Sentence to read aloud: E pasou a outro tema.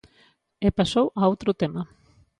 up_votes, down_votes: 2, 0